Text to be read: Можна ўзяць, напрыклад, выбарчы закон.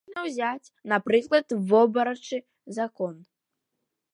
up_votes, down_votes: 0, 2